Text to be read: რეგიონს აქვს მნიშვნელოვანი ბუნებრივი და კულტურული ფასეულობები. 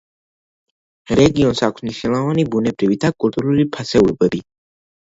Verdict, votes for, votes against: accepted, 2, 1